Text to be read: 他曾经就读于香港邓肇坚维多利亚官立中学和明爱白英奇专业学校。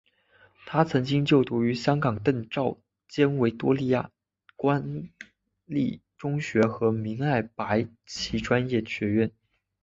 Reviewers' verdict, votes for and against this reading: accepted, 2, 1